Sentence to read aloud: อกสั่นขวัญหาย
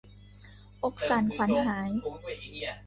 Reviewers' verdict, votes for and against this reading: rejected, 0, 2